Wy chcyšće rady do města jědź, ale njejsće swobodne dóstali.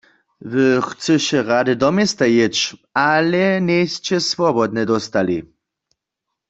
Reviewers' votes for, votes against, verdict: 1, 2, rejected